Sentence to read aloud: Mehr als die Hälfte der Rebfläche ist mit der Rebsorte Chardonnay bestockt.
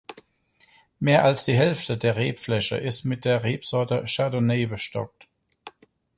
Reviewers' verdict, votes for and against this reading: accepted, 4, 0